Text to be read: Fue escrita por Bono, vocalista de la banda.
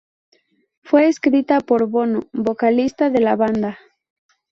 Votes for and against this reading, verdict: 0, 2, rejected